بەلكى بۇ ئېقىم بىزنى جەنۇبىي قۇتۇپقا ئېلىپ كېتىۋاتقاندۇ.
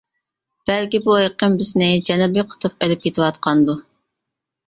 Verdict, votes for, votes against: rejected, 0, 2